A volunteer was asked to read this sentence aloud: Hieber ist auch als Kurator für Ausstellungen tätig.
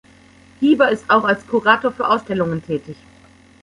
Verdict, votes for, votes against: accepted, 2, 0